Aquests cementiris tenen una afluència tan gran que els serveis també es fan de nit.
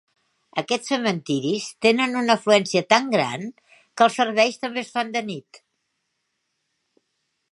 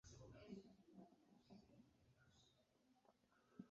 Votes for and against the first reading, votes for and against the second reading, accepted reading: 4, 0, 0, 2, first